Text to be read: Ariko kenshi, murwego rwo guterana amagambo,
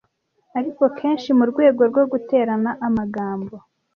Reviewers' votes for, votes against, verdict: 2, 0, accepted